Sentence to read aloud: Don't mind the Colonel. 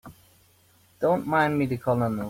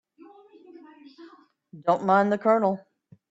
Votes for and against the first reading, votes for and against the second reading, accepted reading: 0, 3, 2, 0, second